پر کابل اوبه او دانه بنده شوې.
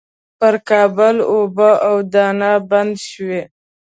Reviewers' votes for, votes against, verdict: 0, 4, rejected